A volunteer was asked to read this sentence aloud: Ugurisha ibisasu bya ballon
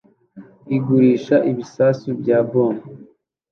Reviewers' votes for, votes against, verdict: 0, 2, rejected